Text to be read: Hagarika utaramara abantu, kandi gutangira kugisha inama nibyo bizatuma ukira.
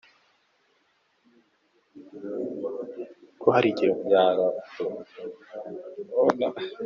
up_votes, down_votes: 0, 2